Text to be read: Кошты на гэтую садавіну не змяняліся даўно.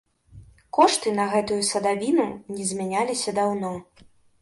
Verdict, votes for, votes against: accepted, 2, 0